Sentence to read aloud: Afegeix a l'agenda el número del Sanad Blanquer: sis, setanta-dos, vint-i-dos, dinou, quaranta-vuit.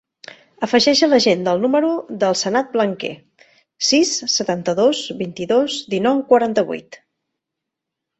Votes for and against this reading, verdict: 2, 0, accepted